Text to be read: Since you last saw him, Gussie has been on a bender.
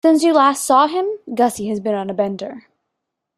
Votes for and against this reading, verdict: 2, 0, accepted